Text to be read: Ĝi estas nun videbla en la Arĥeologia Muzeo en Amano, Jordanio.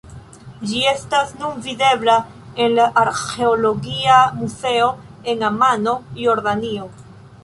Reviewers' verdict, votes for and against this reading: rejected, 0, 2